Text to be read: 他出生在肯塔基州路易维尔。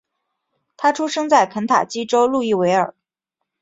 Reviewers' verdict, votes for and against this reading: accepted, 7, 0